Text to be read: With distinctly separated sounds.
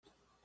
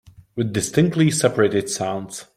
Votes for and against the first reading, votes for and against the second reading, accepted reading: 0, 2, 2, 0, second